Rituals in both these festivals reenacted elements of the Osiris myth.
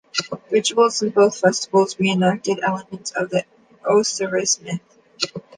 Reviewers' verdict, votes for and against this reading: rejected, 0, 2